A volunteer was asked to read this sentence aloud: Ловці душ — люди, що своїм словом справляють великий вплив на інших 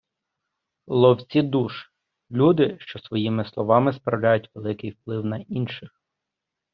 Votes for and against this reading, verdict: 0, 2, rejected